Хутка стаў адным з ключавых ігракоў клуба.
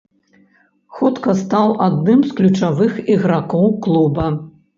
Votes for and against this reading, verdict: 2, 0, accepted